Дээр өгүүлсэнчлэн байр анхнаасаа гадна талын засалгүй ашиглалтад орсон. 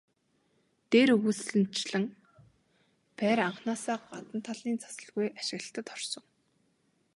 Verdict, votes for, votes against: accepted, 2, 0